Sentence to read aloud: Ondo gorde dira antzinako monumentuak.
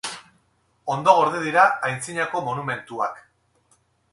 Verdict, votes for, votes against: rejected, 0, 2